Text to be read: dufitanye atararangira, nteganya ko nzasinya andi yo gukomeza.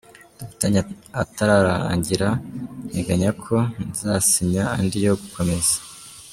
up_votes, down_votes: 1, 2